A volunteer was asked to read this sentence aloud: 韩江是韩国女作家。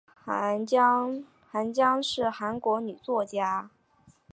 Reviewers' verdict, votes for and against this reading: rejected, 0, 2